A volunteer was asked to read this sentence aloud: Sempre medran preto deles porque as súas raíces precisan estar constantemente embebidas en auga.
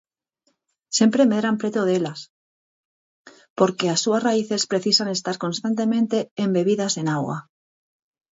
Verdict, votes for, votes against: rejected, 0, 4